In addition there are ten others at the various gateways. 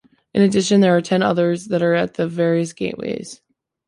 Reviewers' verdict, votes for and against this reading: rejected, 1, 2